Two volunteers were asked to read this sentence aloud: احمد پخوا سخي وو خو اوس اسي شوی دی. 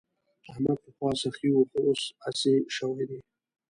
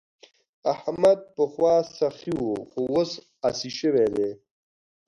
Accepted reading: second